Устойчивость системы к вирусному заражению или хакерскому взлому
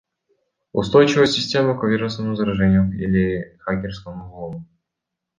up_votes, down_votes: 1, 2